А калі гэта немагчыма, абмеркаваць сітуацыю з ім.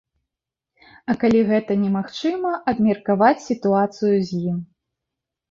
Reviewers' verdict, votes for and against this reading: accepted, 2, 0